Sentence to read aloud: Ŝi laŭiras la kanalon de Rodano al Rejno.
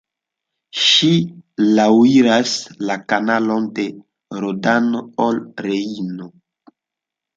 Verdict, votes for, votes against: rejected, 0, 2